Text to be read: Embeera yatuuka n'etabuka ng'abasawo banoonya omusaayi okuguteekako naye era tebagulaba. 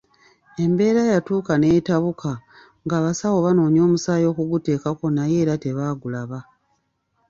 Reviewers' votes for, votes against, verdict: 2, 0, accepted